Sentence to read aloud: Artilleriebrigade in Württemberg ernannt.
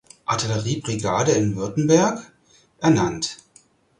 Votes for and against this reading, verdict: 4, 0, accepted